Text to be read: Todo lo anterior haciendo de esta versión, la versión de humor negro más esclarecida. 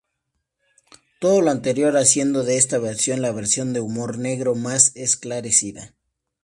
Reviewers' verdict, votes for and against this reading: accepted, 2, 0